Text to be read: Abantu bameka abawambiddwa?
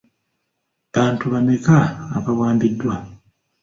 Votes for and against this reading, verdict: 2, 0, accepted